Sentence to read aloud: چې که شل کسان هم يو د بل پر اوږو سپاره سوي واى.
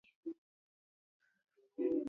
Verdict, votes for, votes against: rejected, 0, 2